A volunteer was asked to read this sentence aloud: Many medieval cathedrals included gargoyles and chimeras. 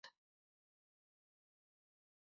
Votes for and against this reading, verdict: 0, 4, rejected